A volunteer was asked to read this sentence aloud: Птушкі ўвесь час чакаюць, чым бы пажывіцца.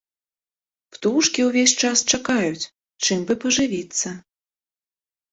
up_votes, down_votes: 2, 0